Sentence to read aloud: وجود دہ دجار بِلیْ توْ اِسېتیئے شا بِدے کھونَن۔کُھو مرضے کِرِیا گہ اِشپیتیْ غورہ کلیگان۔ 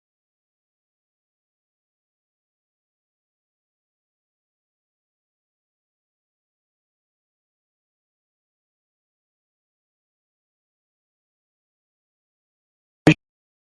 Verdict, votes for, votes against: rejected, 0, 2